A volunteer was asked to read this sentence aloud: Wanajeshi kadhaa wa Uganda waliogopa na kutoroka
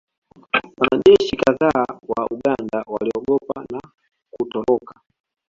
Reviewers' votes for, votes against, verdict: 2, 0, accepted